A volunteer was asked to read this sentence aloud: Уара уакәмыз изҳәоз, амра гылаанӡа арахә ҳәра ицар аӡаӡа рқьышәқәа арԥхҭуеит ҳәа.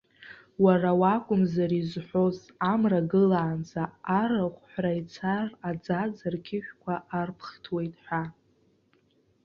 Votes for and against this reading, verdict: 2, 0, accepted